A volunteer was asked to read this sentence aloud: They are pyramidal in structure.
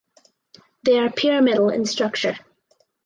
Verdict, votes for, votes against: accepted, 4, 0